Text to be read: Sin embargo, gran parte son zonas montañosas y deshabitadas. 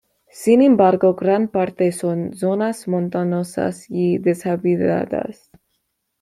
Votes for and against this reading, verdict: 1, 2, rejected